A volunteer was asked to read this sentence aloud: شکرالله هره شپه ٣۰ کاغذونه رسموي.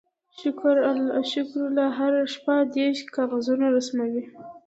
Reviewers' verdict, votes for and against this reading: rejected, 0, 2